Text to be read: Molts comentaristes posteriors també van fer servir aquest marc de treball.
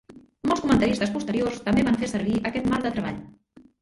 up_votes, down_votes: 2, 0